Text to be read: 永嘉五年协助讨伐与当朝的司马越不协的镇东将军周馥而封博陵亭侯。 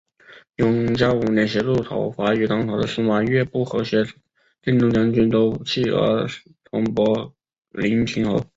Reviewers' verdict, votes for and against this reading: rejected, 0, 2